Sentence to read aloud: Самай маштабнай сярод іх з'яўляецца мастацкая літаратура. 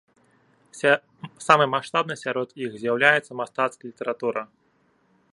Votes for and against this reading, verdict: 0, 2, rejected